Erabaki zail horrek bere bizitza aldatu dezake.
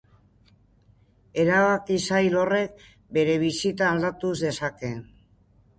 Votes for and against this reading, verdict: 1, 2, rejected